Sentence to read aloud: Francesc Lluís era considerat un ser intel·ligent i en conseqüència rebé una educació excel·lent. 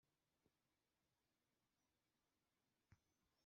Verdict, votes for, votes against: rejected, 0, 2